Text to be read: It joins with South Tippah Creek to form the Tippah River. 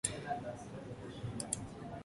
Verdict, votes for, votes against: rejected, 0, 2